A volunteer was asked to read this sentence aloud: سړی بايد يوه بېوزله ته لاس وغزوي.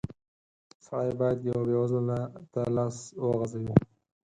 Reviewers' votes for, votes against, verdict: 4, 0, accepted